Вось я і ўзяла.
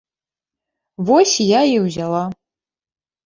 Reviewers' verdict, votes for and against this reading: accepted, 2, 0